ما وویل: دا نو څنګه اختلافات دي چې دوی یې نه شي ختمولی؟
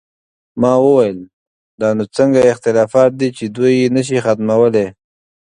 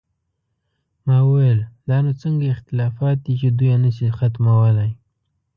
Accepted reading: first